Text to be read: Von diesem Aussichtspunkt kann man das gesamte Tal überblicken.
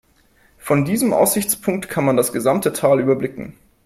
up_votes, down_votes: 3, 0